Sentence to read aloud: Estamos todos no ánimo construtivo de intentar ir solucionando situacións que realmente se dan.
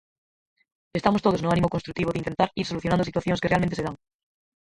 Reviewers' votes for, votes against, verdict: 2, 4, rejected